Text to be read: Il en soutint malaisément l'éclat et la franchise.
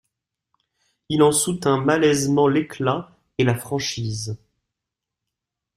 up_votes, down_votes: 2, 1